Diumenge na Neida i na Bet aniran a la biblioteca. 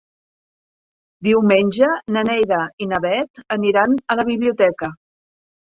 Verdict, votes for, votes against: accepted, 2, 0